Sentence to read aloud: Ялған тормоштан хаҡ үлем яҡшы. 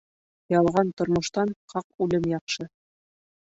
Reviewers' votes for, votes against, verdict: 2, 0, accepted